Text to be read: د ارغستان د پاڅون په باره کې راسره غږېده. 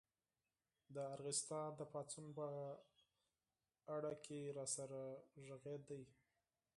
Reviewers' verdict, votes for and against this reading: rejected, 0, 4